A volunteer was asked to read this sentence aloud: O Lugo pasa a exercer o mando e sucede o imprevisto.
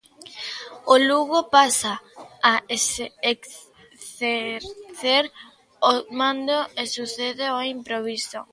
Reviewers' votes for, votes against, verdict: 0, 2, rejected